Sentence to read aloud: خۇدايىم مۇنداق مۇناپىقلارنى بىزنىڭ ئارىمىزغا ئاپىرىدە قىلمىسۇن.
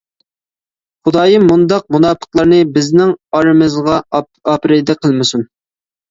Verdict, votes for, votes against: rejected, 1, 2